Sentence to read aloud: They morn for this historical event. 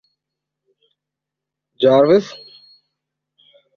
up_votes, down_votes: 1, 3